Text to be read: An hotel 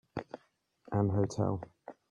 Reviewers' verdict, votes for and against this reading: accepted, 2, 0